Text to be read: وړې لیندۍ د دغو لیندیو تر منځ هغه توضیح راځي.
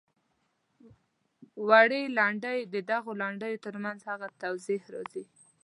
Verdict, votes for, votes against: rejected, 0, 2